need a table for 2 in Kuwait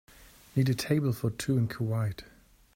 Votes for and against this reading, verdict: 0, 2, rejected